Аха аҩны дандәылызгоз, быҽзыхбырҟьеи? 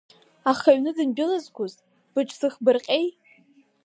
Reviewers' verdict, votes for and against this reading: accepted, 7, 1